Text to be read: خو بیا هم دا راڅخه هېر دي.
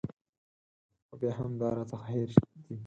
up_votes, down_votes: 2, 4